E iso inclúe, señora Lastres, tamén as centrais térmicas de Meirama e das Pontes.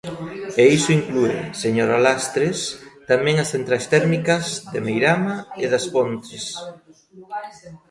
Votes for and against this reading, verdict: 1, 2, rejected